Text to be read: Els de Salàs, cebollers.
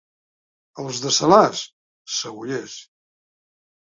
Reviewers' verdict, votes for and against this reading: accepted, 2, 0